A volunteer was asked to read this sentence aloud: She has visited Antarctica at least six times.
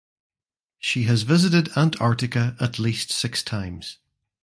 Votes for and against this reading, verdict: 2, 0, accepted